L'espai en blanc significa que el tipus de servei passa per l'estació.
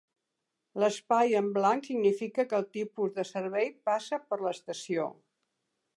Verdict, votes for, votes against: accepted, 3, 0